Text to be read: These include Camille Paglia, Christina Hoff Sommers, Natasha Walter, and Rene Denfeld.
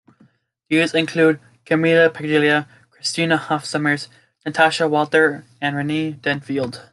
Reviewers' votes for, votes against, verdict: 0, 2, rejected